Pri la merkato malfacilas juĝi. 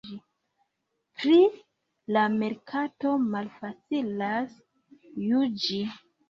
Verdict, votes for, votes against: rejected, 1, 2